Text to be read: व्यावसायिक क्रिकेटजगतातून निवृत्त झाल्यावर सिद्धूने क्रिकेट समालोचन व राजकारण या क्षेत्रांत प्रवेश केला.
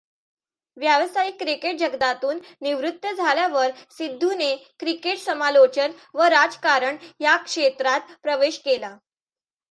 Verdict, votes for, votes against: accepted, 2, 0